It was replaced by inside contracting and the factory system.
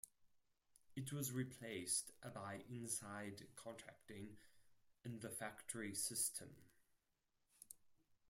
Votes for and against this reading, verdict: 4, 2, accepted